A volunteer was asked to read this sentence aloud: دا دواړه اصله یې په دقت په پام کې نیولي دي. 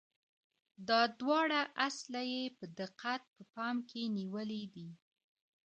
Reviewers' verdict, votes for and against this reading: accepted, 2, 1